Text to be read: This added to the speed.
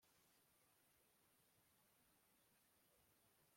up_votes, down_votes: 0, 2